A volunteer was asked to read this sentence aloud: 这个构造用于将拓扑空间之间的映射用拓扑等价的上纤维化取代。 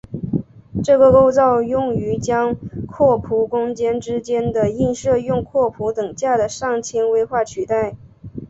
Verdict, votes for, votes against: accepted, 4, 0